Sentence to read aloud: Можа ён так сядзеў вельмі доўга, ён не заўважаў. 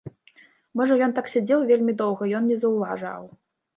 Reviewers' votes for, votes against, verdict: 1, 2, rejected